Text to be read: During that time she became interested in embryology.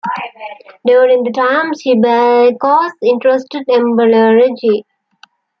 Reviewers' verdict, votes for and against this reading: rejected, 1, 2